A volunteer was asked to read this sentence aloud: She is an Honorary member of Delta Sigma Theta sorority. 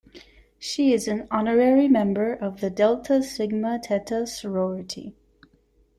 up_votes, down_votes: 0, 2